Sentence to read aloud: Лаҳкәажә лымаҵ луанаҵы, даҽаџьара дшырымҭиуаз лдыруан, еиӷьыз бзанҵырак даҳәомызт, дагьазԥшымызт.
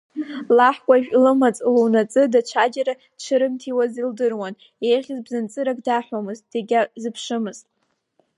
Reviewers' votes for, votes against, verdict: 3, 0, accepted